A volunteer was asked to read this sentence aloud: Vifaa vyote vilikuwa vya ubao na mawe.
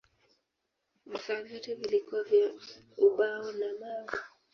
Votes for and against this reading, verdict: 0, 2, rejected